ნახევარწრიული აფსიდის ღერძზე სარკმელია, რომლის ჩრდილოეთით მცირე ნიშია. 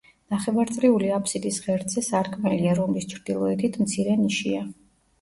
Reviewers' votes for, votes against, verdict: 2, 0, accepted